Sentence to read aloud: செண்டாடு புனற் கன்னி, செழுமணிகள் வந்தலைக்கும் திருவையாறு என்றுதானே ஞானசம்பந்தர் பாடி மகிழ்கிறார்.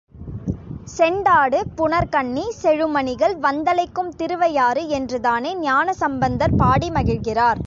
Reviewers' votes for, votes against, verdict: 2, 0, accepted